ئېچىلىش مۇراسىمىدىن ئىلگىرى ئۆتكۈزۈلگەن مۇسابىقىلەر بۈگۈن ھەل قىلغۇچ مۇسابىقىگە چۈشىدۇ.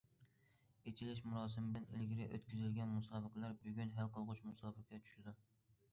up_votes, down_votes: 2, 0